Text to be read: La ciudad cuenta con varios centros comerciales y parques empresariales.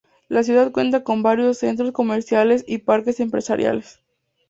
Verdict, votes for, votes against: accepted, 2, 0